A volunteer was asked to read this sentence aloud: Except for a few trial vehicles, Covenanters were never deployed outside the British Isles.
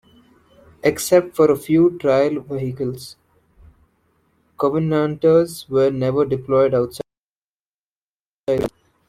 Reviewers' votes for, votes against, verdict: 1, 2, rejected